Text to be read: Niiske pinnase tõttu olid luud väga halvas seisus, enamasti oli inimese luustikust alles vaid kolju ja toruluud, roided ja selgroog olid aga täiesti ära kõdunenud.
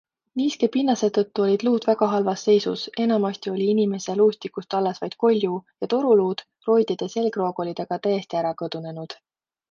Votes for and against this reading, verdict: 2, 0, accepted